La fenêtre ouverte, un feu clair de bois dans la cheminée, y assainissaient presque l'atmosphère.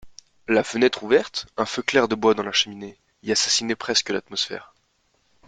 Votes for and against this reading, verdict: 1, 2, rejected